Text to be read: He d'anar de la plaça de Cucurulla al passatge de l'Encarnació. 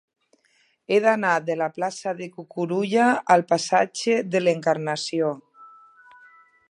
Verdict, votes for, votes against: rejected, 1, 2